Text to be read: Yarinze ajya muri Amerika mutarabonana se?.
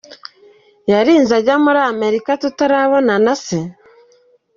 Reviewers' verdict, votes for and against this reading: rejected, 2, 3